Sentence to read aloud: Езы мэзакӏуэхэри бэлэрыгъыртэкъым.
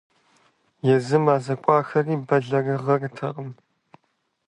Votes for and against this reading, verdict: 0, 2, rejected